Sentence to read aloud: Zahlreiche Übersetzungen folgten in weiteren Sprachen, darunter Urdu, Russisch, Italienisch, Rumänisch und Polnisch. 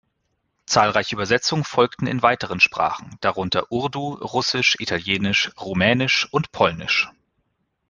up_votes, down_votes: 2, 0